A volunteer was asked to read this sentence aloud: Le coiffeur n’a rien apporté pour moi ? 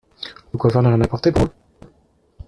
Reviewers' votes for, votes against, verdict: 0, 2, rejected